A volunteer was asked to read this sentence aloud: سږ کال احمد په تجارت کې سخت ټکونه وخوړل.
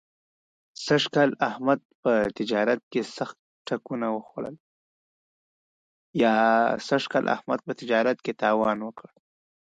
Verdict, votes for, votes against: rejected, 1, 2